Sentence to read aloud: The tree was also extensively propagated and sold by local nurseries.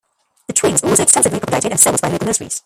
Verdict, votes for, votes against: rejected, 0, 2